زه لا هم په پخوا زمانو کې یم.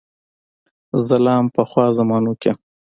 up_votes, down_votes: 2, 0